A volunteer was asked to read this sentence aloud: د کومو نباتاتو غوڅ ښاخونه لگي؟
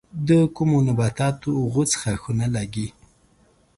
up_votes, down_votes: 2, 0